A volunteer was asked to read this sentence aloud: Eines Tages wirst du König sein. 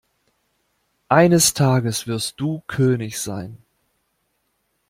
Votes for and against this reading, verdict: 2, 0, accepted